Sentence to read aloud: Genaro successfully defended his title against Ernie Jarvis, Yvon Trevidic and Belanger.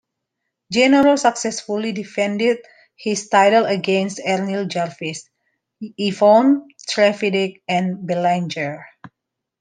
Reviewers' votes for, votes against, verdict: 0, 2, rejected